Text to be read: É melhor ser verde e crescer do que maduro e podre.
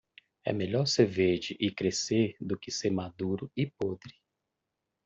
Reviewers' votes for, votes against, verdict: 0, 2, rejected